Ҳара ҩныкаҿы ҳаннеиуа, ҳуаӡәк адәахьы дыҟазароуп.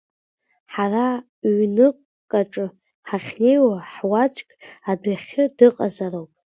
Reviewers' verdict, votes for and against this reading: accepted, 2, 1